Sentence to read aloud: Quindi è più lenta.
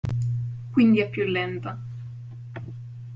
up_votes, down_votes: 2, 0